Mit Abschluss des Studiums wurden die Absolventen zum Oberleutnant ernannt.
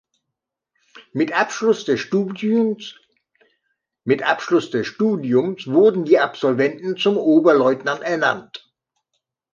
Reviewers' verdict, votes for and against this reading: rejected, 0, 2